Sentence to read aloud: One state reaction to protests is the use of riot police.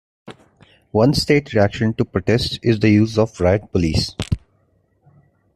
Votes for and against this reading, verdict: 2, 0, accepted